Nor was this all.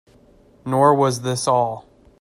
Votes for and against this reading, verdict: 2, 0, accepted